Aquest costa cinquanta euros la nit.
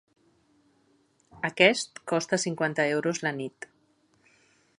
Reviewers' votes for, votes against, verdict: 4, 1, accepted